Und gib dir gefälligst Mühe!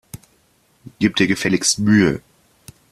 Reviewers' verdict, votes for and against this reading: rejected, 0, 2